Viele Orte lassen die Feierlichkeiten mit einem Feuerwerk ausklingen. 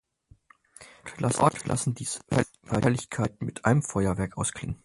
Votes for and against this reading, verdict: 0, 6, rejected